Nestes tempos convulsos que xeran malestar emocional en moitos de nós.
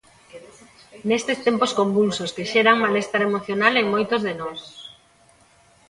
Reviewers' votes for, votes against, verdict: 1, 2, rejected